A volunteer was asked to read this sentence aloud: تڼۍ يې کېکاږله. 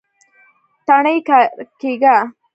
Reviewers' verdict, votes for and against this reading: accepted, 2, 0